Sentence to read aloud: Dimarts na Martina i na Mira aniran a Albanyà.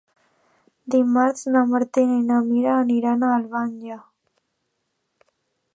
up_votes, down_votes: 2, 0